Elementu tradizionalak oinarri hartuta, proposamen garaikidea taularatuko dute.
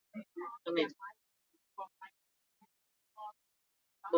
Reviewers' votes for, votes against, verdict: 0, 8, rejected